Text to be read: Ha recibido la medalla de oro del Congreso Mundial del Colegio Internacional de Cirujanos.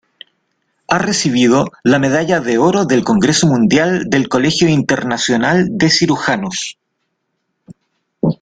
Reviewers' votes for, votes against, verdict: 2, 0, accepted